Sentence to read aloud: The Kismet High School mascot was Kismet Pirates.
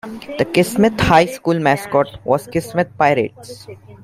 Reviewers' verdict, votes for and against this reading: rejected, 1, 2